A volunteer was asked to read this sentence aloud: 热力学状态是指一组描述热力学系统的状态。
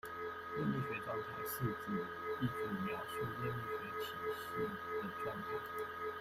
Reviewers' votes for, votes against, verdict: 0, 2, rejected